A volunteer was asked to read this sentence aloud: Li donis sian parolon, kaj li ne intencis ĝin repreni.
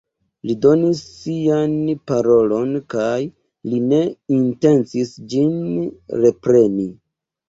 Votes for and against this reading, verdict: 2, 0, accepted